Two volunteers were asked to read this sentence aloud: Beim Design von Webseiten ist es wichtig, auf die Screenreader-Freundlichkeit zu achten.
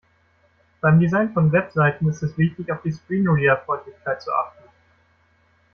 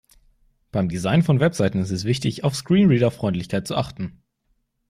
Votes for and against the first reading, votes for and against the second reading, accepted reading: 2, 1, 0, 2, first